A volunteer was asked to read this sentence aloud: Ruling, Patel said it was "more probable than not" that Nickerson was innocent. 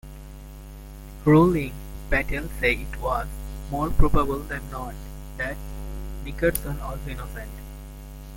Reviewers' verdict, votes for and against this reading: accepted, 2, 0